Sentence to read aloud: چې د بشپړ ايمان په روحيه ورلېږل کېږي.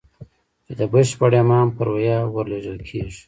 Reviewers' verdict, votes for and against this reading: rejected, 0, 2